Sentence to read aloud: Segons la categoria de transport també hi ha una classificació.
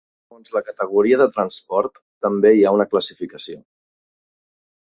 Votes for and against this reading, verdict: 0, 3, rejected